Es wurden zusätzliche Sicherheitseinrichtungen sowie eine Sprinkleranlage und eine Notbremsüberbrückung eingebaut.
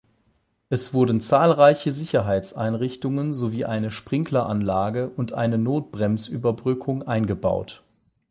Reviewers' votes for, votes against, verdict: 0, 8, rejected